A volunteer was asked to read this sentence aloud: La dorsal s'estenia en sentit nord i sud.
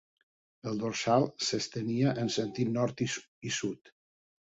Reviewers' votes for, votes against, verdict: 0, 2, rejected